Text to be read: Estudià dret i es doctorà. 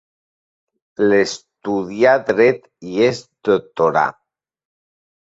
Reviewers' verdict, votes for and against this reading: rejected, 0, 3